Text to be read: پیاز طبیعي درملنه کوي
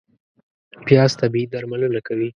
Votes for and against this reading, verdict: 2, 0, accepted